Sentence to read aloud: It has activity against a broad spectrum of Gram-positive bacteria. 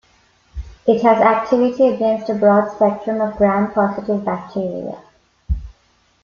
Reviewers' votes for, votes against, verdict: 1, 2, rejected